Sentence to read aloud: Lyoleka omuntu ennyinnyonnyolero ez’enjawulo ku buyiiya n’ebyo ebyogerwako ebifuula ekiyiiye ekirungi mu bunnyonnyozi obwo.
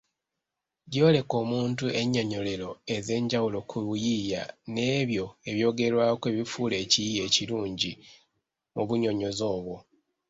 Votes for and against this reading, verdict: 0, 2, rejected